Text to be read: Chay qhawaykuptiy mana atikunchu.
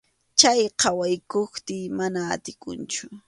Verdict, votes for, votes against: accepted, 2, 0